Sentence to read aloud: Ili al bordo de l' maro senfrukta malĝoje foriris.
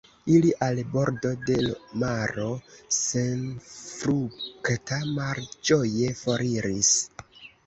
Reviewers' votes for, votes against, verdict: 0, 2, rejected